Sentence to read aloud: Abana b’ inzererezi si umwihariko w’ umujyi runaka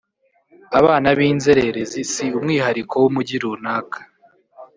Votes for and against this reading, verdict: 1, 2, rejected